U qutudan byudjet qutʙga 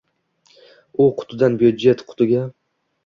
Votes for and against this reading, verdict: 1, 2, rejected